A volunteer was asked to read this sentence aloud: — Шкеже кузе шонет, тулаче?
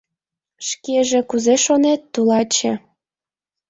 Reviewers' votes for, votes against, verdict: 2, 0, accepted